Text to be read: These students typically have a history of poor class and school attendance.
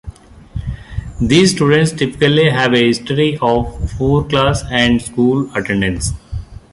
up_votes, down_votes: 2, 0